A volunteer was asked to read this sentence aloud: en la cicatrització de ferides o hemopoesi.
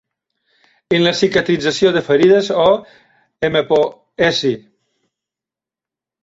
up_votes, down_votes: 0, 2